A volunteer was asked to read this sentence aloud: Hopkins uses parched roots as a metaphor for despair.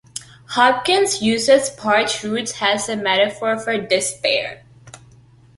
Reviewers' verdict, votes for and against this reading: accepted, 2, 1